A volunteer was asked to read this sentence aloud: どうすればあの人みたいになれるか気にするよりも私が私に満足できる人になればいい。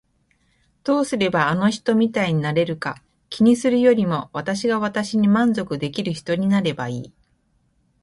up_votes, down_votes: 2, 0